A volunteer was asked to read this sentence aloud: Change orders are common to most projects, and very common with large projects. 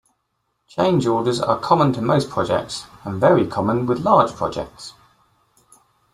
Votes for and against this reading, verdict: 2, 0, accepted